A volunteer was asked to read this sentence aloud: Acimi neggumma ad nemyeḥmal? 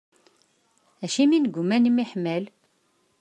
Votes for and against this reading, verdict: 2, 0, accepted